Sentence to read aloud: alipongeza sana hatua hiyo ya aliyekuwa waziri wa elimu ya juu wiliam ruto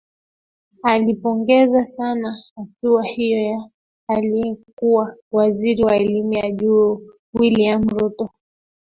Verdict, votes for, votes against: rejected, 0, 2